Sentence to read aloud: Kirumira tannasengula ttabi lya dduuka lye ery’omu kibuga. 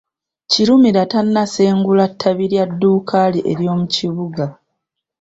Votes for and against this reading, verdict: 0, 2, rejected